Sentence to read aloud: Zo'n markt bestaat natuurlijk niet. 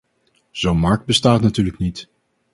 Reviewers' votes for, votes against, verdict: 4, 0, accepted